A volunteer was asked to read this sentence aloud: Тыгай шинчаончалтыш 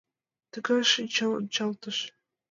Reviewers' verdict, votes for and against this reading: accepted, 2, 0